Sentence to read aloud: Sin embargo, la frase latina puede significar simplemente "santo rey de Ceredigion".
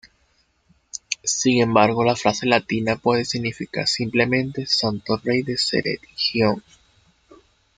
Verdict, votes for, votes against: accepted, 2, 1